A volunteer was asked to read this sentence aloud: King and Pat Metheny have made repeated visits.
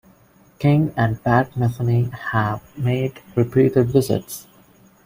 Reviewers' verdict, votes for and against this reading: accepted, 2, 0